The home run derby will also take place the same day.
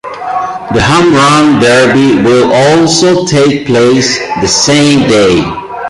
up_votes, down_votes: 1, 2